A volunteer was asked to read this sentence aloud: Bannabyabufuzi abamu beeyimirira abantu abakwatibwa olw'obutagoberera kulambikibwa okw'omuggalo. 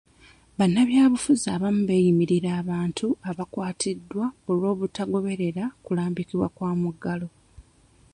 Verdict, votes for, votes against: rejected, 0, 2